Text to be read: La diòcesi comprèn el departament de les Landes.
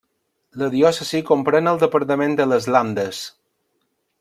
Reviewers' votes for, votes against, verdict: 0, 2, rejected